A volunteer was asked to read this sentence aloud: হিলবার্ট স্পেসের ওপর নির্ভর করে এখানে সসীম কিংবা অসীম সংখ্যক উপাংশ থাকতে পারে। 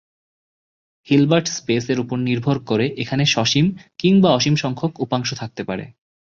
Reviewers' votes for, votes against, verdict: 2, 0, accepted